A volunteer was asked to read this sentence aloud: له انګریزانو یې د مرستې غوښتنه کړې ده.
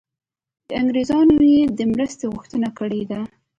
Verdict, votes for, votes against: rejected, 1, 2